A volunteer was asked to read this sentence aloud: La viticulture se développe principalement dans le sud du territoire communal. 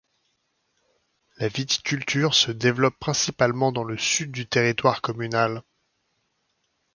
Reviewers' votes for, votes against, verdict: 2, 0, accepted